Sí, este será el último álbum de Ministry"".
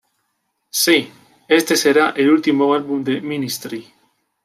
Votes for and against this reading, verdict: 2, 0, accepted